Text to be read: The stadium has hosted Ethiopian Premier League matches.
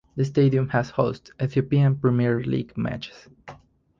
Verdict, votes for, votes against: rejected, 0, 4